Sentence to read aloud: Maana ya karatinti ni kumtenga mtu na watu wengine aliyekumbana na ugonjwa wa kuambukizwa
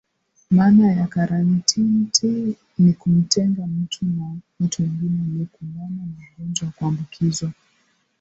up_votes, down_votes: 1, 2